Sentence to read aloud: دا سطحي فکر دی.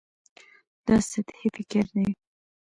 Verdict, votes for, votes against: accepted, 2, 0